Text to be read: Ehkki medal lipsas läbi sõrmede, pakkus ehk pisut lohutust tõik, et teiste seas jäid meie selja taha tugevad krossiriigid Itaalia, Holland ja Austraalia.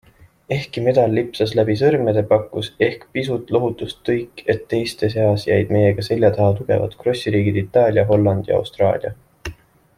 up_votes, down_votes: 2, 1